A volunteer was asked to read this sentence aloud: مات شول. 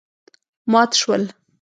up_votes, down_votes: 2, 0